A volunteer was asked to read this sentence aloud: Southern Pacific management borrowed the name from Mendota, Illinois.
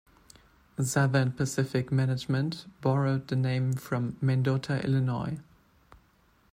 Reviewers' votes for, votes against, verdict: 2, 0, accepted